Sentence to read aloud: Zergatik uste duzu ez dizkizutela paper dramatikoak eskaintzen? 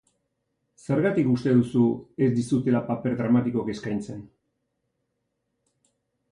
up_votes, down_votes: 2, 0